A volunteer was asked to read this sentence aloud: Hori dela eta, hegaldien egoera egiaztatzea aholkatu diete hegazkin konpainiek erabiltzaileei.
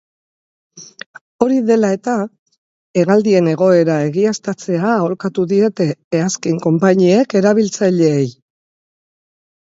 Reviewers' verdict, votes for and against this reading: rejected, 2, 2